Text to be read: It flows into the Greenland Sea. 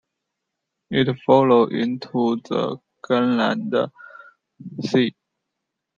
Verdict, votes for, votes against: rejected, 0, 2